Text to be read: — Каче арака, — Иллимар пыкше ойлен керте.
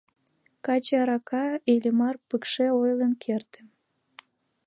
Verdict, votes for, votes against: accepted, 2, 0